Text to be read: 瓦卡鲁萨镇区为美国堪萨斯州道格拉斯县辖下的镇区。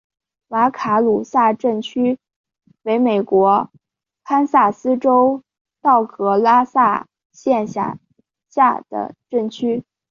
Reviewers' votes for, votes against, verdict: 2, 1, accepted